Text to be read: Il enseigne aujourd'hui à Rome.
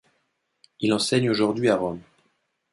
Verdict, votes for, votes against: accepted, 2, 0